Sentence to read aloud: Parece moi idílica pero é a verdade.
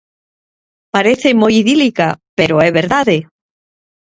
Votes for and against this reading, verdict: 1, 2, rejected